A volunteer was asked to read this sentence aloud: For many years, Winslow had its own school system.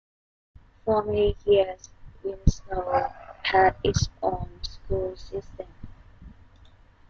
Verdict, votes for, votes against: rejected, 0, 2